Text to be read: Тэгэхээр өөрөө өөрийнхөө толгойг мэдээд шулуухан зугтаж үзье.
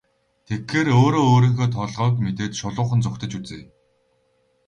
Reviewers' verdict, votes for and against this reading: rejected, 2, 2